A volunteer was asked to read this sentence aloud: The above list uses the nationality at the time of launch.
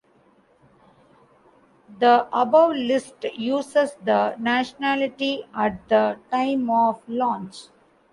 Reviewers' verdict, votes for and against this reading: rejected, 1, 2